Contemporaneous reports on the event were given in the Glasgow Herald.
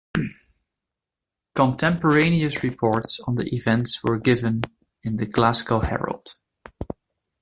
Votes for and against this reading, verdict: 2, 1, accepted